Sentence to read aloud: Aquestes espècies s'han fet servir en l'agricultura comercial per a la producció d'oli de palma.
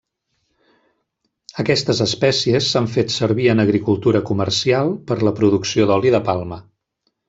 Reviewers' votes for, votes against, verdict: 1, 2, rejected